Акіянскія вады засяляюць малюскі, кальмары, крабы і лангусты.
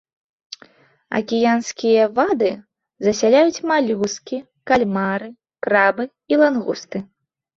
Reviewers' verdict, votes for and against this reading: rejected, 0, 2